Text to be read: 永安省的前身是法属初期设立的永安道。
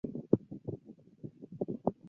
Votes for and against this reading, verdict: 0, 2, rejected